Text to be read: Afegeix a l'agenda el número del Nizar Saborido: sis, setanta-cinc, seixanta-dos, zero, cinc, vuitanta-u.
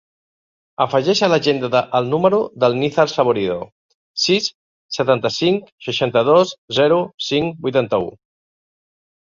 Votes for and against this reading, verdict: 1, 2, rejected